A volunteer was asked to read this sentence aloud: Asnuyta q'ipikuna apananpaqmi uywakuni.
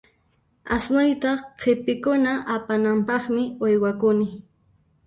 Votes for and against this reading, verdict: 1, 3, rejected